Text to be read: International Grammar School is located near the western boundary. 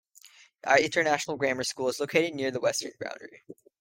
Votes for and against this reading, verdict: 3, 1, accepted